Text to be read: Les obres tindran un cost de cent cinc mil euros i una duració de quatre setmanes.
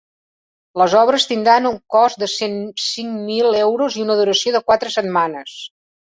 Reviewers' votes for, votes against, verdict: 4, 0, accepted